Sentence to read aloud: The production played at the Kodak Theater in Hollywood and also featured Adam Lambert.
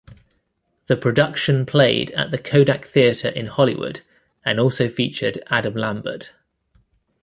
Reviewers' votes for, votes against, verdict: 1, 2, rejected